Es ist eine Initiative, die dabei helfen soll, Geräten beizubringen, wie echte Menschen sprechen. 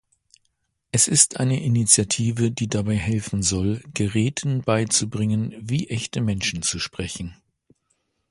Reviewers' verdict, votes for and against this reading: rejected, 1, 2